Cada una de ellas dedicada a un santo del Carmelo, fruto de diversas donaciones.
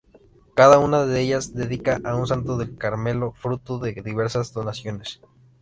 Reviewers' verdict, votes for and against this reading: rejected, 0, 2